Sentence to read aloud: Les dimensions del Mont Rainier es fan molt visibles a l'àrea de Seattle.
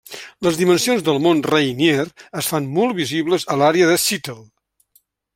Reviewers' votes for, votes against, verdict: 2, 0, accepted